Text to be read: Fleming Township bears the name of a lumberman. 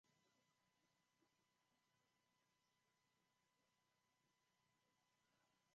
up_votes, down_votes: 0, 2